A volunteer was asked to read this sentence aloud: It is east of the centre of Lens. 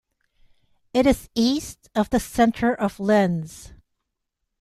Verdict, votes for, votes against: accepted, 2, 0